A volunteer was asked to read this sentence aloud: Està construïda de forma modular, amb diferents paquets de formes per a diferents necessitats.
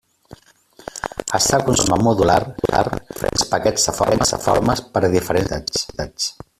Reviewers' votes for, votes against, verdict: 0, 2, rejected